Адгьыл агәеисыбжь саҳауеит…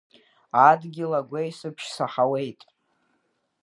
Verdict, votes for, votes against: accepted, 2, 0